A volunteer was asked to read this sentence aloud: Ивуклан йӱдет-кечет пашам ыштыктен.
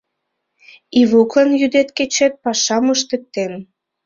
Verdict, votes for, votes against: accepted, 2, 0